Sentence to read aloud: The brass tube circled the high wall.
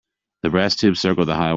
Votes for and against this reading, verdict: 0, 2, rejected